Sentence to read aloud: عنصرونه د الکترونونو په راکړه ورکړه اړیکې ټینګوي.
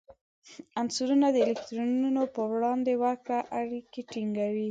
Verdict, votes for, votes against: rejected, 1, 2